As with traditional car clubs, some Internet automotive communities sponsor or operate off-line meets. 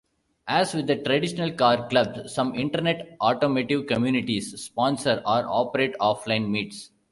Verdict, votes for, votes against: rejected, 0, 2